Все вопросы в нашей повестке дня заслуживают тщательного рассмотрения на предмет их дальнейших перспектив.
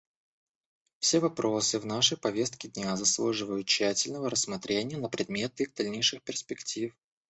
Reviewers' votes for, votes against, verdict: 2, 1, accepted